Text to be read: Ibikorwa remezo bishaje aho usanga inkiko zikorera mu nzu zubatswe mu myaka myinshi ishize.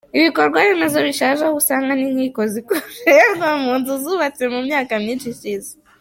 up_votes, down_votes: 1, 2